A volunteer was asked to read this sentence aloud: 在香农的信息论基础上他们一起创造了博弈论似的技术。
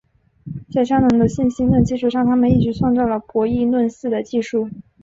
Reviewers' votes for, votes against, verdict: 8, 0, accepted